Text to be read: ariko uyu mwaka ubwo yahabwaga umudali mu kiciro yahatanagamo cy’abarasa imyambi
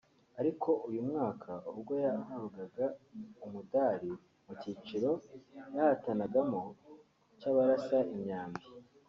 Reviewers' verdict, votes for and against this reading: rejected, 1, 2